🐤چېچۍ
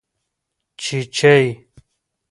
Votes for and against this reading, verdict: 1, 2, rejected